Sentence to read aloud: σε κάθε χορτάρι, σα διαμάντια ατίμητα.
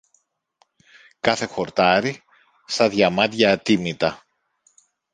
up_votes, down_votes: 0, 2